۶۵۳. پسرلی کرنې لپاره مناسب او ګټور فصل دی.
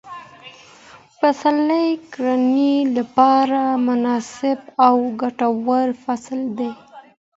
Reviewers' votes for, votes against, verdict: 0, 2, rejected